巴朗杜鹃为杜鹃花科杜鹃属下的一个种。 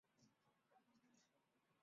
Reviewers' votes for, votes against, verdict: 0, 5, rejected